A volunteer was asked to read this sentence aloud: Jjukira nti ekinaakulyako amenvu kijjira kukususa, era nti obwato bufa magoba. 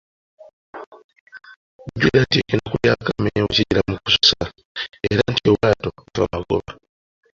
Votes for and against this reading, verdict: 0, 2, rejected